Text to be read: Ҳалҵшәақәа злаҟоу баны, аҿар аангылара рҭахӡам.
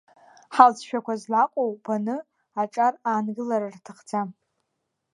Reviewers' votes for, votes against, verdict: 2, 0, accepted